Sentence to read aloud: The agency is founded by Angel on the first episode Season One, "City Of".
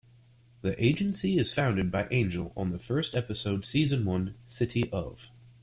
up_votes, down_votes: 0, 2